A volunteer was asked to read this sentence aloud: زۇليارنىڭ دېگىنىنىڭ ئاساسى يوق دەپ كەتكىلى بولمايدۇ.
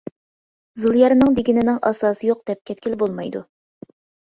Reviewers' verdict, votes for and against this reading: accepted, 2, 0